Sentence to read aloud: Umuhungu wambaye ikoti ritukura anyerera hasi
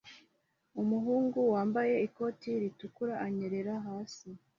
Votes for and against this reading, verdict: 2, 0, accepted